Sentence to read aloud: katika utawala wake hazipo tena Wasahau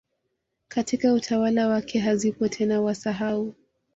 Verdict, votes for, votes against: accepted, 2, 0